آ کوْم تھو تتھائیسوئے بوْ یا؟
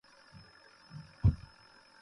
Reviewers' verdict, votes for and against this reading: rejected, 0, 2